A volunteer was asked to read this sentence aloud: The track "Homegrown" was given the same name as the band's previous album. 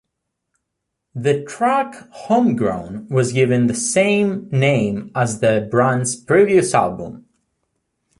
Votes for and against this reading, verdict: 0, 2, rejected